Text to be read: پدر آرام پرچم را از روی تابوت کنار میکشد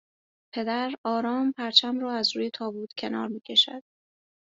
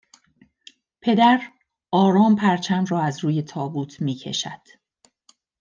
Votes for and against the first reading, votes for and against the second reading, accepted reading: 2, 0, 1, 2, first